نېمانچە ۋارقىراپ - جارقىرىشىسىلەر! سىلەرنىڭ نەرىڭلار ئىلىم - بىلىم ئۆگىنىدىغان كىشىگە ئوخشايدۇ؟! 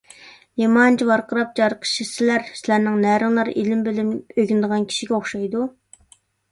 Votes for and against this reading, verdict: 1, 2, rejected